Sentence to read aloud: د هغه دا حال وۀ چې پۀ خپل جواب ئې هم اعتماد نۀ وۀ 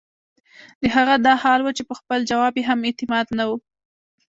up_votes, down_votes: 1, 2